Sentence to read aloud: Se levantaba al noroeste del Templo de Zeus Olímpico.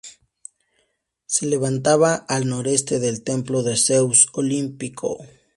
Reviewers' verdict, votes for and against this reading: accepted, 2, 0